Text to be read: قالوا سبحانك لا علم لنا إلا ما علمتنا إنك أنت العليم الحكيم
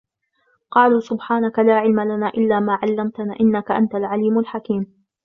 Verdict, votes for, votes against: rejected, 1, 2